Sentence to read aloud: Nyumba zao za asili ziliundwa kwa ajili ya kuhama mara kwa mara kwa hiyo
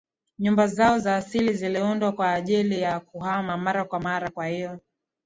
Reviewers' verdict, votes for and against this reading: accepted, 2, 0